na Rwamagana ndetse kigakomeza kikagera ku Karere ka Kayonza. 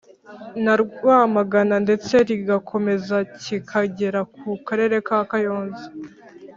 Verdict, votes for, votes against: rejected, 1, 2